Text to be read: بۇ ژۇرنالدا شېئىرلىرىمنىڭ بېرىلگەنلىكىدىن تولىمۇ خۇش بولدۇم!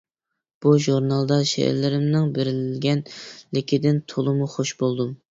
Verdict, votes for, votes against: rejected, 1, 2